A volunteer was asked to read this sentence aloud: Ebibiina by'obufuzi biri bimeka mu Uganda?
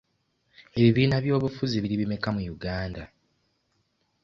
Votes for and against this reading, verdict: 2, 0, accepted